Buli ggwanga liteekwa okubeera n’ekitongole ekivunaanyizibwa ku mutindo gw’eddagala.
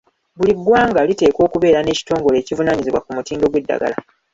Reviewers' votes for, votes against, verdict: 1, 2, rejected